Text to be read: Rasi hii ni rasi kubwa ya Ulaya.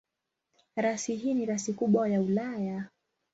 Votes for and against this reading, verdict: 2, 0, accepted